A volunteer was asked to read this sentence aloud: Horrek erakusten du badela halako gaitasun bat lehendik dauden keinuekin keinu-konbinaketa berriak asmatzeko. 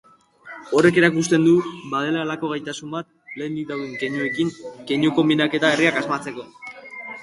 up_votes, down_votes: 6, 0